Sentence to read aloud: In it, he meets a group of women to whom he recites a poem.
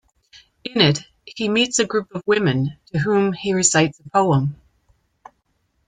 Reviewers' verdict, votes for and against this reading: accepted, 2, 1